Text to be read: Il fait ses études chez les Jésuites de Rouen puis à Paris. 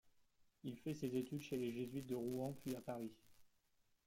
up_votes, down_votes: 1, 2